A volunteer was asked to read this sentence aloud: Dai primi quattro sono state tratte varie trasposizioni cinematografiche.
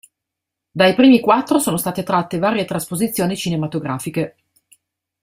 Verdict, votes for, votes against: accepted, 2, 0